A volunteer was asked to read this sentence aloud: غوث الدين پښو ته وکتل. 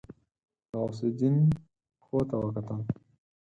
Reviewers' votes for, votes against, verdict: 0, 4, rejected